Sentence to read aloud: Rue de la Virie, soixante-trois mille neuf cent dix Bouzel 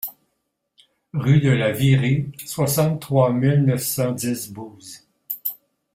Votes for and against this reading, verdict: 0, 2, rejected